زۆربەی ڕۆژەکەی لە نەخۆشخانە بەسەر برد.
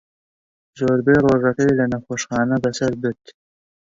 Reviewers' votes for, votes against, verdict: 2, 0, accepted